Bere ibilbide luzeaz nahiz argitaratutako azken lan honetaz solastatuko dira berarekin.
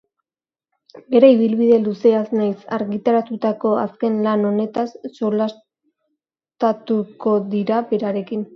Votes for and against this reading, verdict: 2, 3, rejected